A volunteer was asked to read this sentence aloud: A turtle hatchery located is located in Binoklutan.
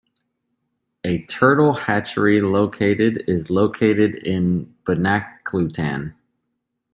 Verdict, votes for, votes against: accepted, 2, 1